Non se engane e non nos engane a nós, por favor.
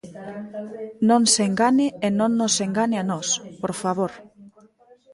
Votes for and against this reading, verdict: 1, 2, rejected